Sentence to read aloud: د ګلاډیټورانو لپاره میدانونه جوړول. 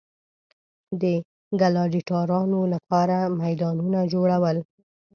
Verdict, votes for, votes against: accepted, 2, 0